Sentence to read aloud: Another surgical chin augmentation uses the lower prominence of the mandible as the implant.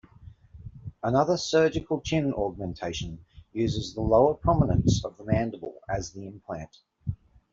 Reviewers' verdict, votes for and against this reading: accepted, 2, 0